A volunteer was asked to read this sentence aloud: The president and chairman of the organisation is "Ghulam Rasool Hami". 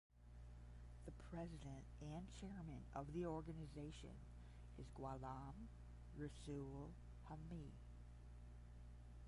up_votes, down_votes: 0, 10